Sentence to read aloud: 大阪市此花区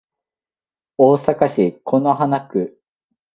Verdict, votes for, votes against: accepted, 3, 0